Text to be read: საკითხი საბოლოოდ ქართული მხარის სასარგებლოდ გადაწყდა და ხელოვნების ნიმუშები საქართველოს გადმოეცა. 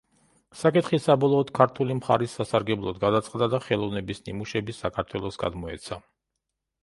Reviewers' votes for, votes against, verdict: 2, 0, accepted